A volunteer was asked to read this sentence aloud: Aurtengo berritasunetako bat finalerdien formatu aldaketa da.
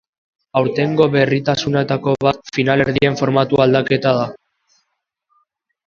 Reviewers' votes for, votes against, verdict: 2, 0, accepted